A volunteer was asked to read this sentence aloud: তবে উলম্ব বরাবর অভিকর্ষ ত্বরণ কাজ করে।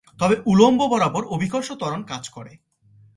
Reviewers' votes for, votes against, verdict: 2, 0, accepted